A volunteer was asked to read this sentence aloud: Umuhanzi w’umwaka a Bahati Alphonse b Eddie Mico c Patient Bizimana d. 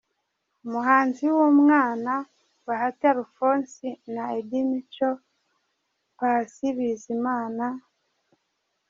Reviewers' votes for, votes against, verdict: 0, 2, rejected